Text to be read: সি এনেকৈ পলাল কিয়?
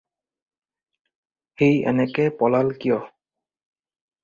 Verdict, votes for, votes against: rejected, 2, 4